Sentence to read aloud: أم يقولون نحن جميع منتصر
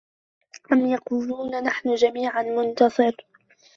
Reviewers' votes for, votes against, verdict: 1, 2, rejected